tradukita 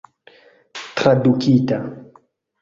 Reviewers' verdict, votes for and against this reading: rejected, 1, 2